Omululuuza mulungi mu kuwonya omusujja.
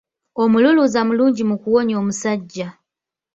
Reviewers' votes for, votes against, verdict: 0, 2, rejected